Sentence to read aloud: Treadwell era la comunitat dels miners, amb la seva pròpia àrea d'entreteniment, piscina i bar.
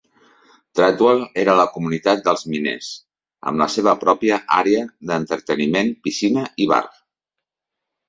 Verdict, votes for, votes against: accepted, 2, 0